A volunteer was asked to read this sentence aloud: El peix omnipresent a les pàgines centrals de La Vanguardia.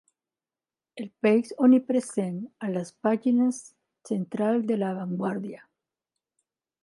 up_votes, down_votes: 3, 1